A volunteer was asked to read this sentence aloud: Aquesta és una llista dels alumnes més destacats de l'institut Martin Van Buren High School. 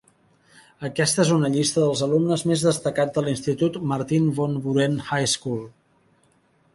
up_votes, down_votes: 3, 0